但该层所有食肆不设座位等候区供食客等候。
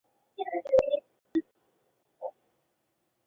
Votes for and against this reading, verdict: 0, 2, rejected